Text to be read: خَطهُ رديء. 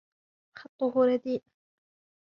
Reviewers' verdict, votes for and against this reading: accepted, 2, 1